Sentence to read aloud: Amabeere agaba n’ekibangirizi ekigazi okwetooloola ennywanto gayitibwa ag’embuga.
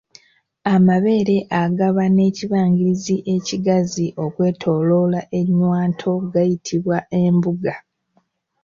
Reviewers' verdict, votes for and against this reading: rejected, 0, 2